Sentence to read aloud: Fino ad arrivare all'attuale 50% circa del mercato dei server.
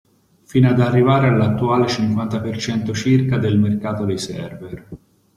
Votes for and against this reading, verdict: 0, 2, rejected